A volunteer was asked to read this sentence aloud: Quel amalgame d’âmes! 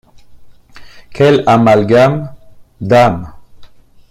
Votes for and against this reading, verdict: 1, 2, rejected